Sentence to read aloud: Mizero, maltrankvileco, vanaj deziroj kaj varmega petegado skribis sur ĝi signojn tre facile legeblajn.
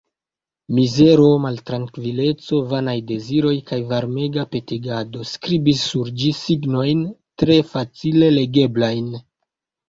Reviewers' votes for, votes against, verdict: 2, 0, accepted